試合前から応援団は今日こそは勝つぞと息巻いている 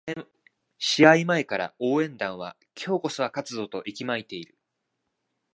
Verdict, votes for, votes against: rejected, 1, 2